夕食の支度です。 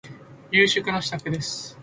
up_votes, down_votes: 2, 0